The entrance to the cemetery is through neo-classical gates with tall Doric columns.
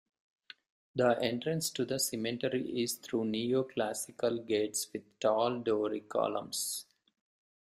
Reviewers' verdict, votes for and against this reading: rejected, 1, 2